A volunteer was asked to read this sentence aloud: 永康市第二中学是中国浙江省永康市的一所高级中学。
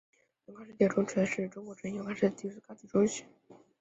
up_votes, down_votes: 2, 4